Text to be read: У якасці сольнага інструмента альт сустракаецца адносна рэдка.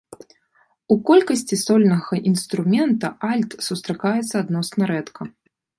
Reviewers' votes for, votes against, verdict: 0, 2, rejected